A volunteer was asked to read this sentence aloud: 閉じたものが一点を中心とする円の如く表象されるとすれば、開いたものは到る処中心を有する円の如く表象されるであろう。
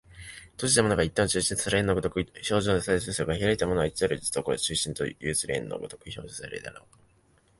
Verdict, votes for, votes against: accepted, 2, 0